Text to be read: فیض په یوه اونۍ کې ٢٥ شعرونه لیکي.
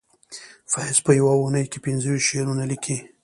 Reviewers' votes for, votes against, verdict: 0, 2, rejected